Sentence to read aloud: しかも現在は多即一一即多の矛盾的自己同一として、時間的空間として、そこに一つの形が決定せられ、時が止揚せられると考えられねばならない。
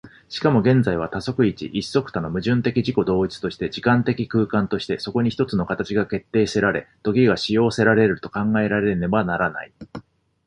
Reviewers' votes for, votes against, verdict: 2, 0, accepted